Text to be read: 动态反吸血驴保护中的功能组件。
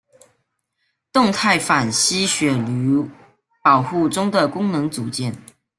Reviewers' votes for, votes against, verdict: 1, 2, rejected